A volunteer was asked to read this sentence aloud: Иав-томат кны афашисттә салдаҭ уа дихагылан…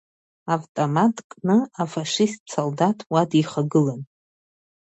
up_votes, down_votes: 0, 2